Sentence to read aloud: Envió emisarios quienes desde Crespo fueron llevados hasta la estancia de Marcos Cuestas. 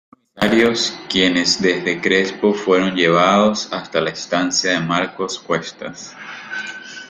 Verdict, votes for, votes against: rejected, 1, 2